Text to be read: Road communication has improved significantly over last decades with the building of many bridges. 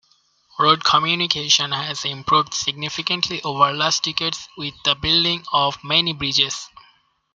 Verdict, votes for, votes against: accepted, 2, 0